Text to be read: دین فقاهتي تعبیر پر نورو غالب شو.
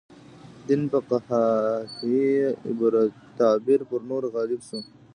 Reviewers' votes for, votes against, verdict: 0, 2, rejected